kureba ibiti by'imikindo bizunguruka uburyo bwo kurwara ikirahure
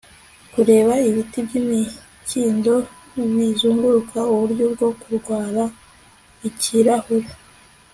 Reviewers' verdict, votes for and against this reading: accepted, 2, 0